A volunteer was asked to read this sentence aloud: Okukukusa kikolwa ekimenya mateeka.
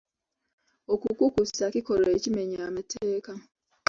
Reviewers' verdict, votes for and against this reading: accepted, 2, 0